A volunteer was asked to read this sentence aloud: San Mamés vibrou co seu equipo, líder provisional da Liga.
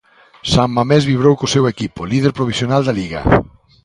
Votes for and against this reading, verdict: 2, 0, accepted